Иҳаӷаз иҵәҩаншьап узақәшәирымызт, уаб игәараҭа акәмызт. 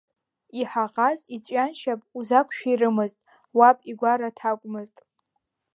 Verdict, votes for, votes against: accepted, 2, 1